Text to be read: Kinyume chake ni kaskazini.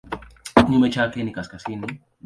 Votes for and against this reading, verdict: 0, 2, rejected